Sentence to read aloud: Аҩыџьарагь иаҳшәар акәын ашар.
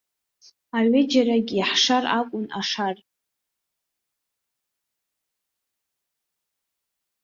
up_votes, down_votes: 0, 2